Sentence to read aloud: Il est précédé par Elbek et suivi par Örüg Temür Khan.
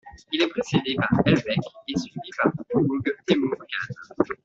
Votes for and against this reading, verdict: 0, 2, rejected